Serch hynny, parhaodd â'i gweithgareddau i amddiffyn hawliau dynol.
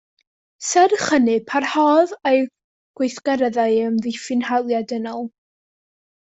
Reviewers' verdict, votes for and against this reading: accepted, 2, 0